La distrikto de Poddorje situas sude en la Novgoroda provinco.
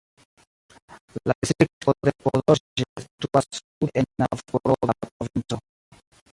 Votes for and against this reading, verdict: 0, 2, rejected